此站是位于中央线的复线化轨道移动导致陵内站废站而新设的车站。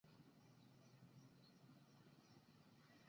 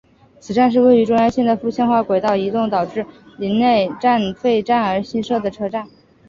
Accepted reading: second